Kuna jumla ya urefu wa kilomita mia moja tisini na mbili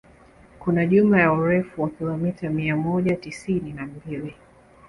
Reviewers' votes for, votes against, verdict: 2, 0, accepted